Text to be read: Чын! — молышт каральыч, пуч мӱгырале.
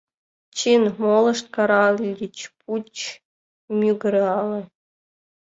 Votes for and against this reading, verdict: 1, 2, rejected